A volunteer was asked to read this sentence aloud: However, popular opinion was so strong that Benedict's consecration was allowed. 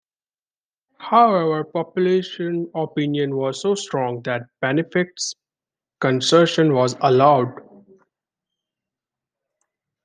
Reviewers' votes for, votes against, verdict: 0, 2, rejected